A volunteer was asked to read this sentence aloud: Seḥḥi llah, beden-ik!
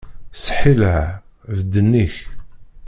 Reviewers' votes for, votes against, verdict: 0, 2, rejected